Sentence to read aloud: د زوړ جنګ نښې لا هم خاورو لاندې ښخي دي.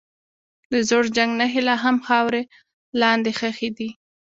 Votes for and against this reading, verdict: 1, 2, rejected